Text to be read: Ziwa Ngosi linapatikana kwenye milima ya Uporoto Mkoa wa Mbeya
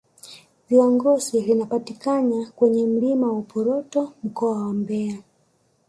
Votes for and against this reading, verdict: 3, 1, accepted